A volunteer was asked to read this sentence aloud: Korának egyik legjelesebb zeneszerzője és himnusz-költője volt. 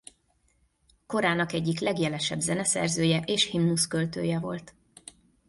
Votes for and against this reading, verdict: 2, 0, accepted